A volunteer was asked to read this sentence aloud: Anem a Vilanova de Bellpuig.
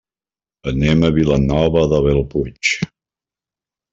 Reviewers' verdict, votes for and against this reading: accepted, 2, 1